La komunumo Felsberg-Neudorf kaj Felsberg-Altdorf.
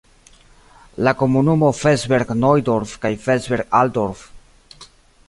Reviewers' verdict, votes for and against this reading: rejected, 0, 2